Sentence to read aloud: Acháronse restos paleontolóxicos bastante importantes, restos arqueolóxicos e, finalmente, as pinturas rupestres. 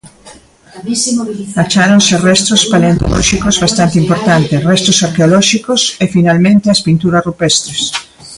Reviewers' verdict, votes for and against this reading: rejected, 0, 2